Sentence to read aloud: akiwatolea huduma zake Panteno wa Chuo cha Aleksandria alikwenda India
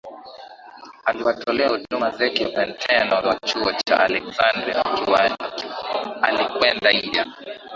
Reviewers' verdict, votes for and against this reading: rejected, 0, 2